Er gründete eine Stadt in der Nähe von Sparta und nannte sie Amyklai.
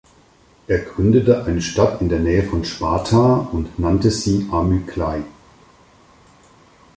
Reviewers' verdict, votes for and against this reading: accepted, 4, 0